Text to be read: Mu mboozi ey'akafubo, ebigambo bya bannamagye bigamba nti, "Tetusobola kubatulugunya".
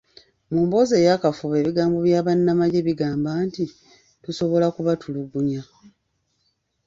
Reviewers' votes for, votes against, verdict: 1, 2, rejected